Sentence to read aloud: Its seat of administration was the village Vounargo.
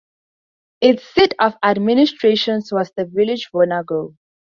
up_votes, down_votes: 0, 2